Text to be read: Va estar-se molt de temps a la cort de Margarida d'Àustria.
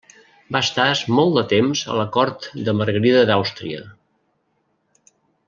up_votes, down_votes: 0, 2